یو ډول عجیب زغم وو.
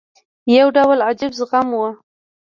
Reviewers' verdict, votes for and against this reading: rejected, 1, 2